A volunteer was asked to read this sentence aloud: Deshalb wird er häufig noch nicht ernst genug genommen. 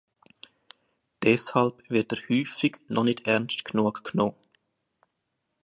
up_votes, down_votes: 2, 1